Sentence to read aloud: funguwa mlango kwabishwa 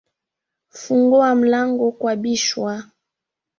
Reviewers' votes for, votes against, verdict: 3, 0, accepted